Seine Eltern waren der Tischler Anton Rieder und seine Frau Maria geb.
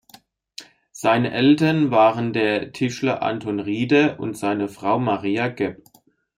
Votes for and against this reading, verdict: 1, 2, rejected